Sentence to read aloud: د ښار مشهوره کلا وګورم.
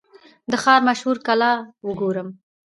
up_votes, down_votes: 0, 2